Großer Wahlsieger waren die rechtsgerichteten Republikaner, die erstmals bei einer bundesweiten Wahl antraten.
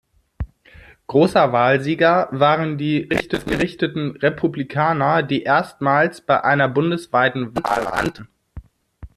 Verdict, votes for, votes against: rejected, 0, 2